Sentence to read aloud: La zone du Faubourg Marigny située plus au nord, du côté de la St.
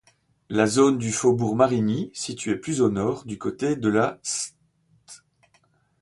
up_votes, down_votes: 1, 2